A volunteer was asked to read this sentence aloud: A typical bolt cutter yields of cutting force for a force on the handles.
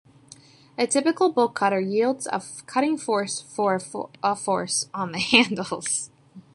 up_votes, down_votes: 0, 2